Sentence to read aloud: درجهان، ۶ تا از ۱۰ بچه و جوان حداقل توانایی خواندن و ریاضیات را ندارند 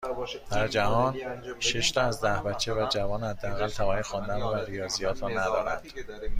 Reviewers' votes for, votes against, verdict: 0, 2, rejected